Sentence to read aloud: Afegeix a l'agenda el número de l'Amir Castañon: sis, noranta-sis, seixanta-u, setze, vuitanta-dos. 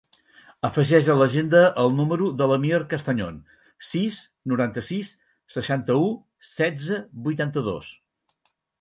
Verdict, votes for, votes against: accepted, 6, 0